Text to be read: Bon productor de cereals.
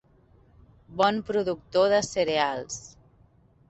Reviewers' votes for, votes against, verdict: 2, 0, accepted